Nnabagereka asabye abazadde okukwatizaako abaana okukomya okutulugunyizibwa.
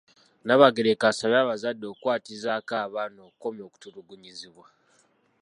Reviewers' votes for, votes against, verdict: 2, 0, accepted